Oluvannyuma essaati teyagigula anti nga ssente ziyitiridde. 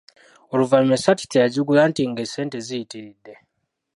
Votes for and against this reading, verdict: 0, 2, rejected